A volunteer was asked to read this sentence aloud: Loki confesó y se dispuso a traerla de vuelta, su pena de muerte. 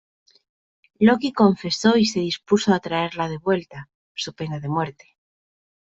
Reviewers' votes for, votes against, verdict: 2, 0, accepted